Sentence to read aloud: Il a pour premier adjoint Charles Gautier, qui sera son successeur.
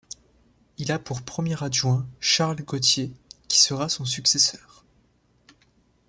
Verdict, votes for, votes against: accepted, 2, 0